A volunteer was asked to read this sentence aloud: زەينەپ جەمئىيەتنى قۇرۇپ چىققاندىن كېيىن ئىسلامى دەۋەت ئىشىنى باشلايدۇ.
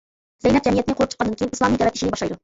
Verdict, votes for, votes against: rejected, 1, 2